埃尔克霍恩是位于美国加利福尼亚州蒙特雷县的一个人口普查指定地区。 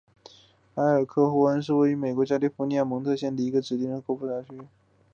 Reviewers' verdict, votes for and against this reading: rejected, 1, 4